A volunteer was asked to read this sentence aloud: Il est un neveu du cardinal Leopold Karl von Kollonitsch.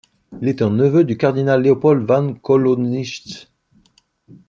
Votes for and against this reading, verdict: 1, 2, rejected